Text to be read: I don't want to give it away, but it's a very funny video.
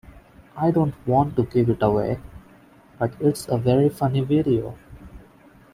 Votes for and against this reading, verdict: 2, 0, accepted